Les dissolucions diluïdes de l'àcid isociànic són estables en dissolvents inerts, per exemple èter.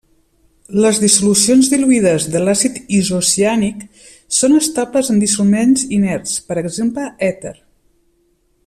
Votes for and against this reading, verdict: 1, 2, rejected